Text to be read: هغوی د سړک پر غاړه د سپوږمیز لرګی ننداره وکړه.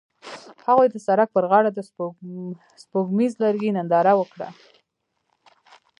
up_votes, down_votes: 1, 2